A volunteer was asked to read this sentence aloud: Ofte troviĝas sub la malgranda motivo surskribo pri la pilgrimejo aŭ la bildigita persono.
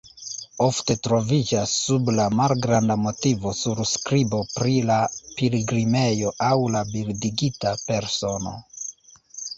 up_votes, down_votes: 0, 2